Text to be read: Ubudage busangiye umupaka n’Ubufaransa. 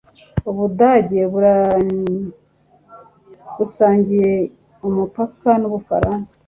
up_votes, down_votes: 1, 2